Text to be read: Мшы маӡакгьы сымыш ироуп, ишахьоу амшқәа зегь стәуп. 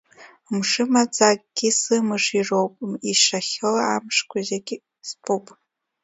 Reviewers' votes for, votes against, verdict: 2, 1, accepted